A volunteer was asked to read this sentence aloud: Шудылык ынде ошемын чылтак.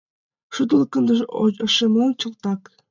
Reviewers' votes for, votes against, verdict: 0, 2, rejected